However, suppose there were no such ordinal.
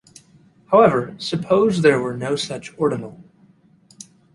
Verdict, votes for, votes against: accepted, 2, 0